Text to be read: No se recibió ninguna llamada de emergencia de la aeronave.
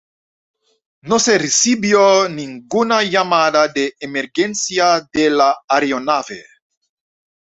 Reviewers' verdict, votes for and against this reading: rejected, 0, 2